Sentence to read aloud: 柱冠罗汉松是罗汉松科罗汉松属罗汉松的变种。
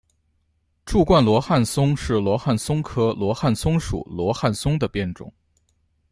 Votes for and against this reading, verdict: 2, 0, accepted